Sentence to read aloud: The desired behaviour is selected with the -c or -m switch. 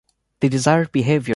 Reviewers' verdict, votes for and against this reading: rejected, 0, 2